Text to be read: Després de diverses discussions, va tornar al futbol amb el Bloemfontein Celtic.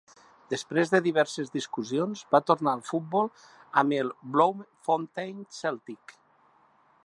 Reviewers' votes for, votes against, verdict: 3, 0, accepted